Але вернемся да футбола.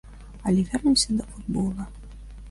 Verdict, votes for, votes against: accepted, 2, 0